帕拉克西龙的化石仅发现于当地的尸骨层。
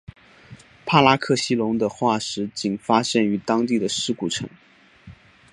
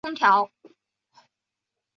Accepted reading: first